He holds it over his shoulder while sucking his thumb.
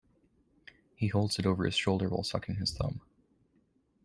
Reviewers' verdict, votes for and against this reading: accepted, 2, 0